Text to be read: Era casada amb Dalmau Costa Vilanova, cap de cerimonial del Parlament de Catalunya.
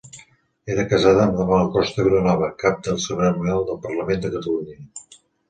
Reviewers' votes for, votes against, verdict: 2, 0, accepted